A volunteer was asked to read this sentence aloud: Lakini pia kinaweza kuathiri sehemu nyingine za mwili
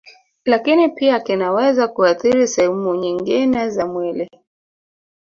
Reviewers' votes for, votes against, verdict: 2, 0, accepted